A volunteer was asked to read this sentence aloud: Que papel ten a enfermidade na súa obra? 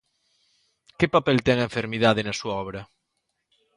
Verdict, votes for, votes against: accepted, 2, 0